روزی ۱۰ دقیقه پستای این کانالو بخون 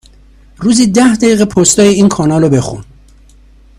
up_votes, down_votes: 0, 2